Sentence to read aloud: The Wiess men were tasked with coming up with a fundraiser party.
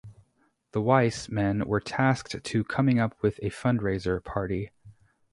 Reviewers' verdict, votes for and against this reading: rejected, 0, 2